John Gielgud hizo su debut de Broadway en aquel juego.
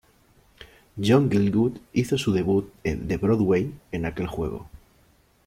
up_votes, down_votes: 1, 2